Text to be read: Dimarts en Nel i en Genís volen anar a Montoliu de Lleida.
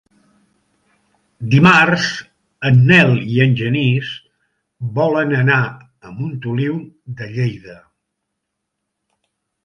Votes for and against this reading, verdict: 2, 0, accepted